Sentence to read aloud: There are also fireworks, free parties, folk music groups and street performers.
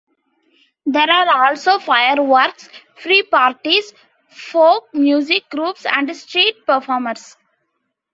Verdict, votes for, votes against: accepted, 3, 0